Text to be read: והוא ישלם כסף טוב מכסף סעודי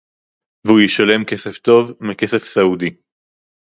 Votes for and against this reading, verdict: 2, 2, rejected